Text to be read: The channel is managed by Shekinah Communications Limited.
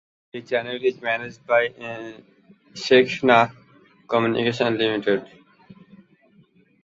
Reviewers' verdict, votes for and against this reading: rejected, 1, 3